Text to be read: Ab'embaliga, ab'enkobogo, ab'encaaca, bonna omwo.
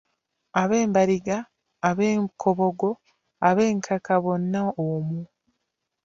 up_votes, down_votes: 0, 2